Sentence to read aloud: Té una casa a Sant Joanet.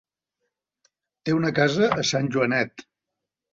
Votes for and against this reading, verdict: 4, 0, accepted